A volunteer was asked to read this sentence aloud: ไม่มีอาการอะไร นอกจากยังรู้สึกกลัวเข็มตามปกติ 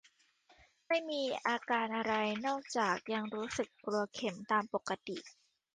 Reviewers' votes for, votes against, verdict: 2, 0, accepted